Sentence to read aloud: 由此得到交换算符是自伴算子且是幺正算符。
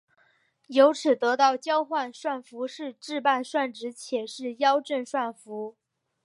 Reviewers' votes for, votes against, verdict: 3, 0, accepted